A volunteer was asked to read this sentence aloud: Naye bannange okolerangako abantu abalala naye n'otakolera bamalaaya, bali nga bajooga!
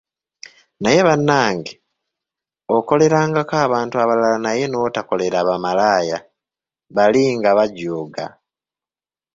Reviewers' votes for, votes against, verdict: 1, 2, rejected